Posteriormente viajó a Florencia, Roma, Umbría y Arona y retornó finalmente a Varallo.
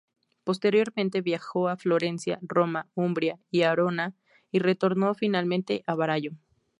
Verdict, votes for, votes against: accepted, 2, 0